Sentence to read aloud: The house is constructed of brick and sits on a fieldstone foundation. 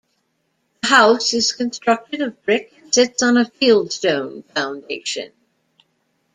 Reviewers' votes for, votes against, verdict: 1, 2, rejected